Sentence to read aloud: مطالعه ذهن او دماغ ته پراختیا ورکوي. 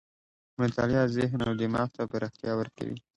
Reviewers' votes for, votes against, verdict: 2, 0, accepted